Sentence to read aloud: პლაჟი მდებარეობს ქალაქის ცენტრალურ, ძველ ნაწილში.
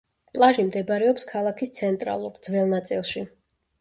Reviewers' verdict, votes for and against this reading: accepted, 2, 0